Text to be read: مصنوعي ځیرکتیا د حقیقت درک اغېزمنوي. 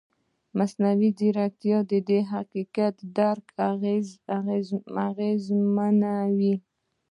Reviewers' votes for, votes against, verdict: 0, 2, rejected